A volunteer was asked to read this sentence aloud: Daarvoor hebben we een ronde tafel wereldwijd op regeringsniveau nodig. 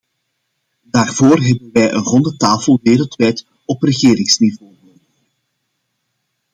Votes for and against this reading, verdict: 0, 2, rejected